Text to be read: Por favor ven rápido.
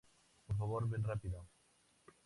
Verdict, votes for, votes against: rejected, 0, 2